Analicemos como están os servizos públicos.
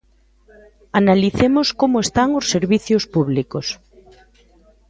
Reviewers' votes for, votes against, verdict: 0, 2, rejected